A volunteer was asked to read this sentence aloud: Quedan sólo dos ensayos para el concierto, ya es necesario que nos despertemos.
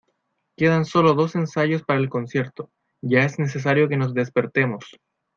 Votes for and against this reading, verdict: 2, 1, accepted